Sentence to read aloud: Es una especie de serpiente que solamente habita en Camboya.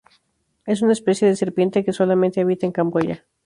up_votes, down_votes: 2, 0